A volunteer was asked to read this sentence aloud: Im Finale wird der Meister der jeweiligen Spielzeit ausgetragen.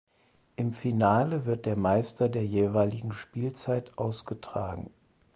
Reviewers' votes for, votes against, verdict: 4, 0, accepted